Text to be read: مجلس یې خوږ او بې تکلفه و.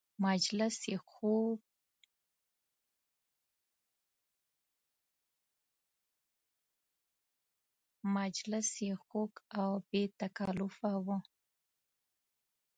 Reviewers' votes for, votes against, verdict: 0, 3, rejected